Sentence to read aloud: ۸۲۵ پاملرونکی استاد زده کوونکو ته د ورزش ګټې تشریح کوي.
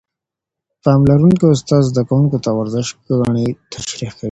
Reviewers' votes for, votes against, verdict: 0, 2, rejected